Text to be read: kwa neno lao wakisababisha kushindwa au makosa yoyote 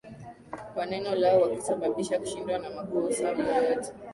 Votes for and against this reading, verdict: 0, 2, rejected